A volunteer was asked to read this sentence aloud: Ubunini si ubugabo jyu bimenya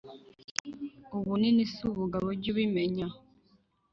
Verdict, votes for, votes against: accepted, 2, 0